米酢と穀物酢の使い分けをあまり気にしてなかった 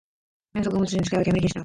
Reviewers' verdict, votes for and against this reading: rejected, 0, 2